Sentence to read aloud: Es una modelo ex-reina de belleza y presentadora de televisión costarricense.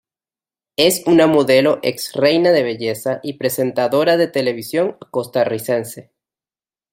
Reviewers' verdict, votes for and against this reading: accepted, 2, 0